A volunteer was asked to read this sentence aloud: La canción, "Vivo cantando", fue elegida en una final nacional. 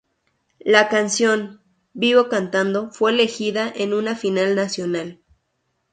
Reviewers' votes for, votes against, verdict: 2, 0, accepted